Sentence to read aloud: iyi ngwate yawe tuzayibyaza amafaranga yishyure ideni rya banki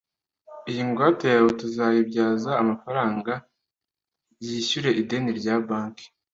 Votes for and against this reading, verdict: 2, 0, accepted